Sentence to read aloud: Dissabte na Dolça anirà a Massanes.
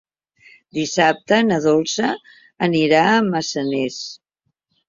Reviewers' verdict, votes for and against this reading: accepted, 2, 1